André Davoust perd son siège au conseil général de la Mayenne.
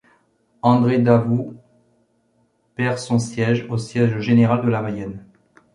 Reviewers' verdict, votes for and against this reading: rejected, 0, 2